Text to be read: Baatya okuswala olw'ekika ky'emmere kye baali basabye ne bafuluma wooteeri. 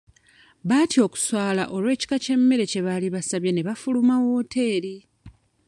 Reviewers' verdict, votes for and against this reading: rejected, 1, 2